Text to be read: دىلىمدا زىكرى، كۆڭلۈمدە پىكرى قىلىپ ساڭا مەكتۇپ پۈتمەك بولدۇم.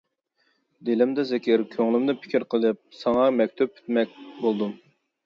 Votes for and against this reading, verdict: 0, 2, rejected